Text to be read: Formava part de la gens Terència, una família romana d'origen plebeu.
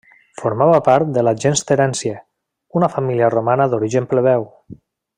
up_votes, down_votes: 2, 0